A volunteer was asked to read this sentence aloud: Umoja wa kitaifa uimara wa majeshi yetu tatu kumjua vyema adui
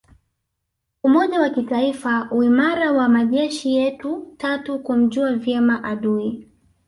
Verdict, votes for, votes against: accepted, 2, 0